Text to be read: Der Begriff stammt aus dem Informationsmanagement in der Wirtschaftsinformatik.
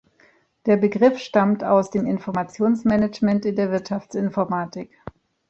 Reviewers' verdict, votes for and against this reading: accepted, 2, 0